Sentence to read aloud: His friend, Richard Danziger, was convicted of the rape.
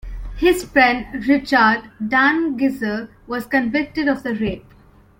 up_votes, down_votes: 0, 2